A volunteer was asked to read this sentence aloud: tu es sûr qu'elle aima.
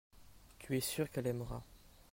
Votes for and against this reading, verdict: 0, 2, rejected